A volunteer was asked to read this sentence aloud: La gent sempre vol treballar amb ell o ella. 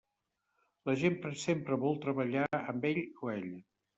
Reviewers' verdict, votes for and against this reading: rejected, 0, 2